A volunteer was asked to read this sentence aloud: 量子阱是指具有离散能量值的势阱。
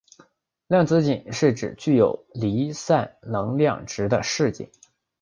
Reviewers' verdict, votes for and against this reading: accepted, 3, 0